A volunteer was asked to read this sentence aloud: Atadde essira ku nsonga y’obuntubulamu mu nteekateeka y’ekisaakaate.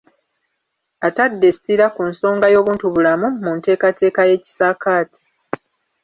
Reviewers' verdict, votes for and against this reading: accepted, 2, 0